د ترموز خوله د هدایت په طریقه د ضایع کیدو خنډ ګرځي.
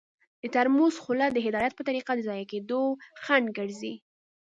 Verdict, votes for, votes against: accepted, 2, 0